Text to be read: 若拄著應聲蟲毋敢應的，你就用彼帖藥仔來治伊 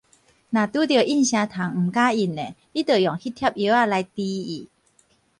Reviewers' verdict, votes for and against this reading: rejected, 2, 4